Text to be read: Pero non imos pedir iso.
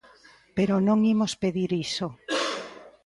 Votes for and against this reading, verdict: 2, 0, accepted